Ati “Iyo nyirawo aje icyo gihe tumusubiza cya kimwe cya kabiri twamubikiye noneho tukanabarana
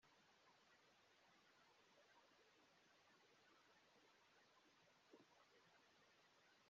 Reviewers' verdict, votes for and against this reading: rejected, 0, 2